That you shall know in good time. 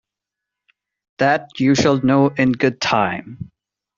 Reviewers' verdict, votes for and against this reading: accepted, 2, 0